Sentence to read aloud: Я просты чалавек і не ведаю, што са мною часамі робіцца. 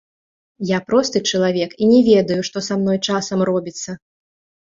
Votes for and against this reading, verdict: 2, 1, accepted